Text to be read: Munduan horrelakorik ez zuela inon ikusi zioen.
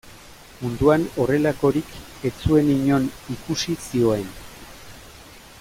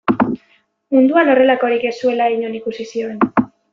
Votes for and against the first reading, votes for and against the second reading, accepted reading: 0, 2, 2, 0, second